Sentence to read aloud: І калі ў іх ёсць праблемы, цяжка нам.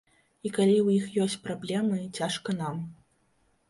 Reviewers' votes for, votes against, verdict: 2, 0, accepted